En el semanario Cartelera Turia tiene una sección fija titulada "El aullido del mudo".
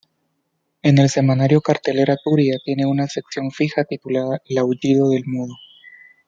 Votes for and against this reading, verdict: 2, 0, accepted